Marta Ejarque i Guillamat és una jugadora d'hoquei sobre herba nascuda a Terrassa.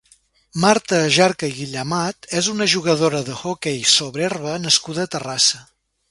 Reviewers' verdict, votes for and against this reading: rejected, 0, 2